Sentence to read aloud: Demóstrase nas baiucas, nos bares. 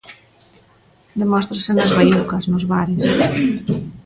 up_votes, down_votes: 1, 2